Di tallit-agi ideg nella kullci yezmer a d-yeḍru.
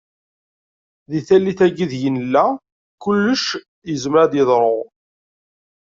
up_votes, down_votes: 1, 2